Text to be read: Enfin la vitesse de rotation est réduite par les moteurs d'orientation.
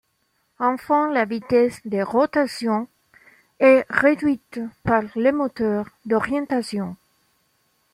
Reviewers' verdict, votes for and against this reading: rejected, 1, 2